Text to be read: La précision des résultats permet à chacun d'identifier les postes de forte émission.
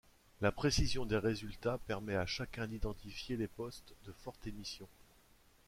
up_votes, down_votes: 2, 0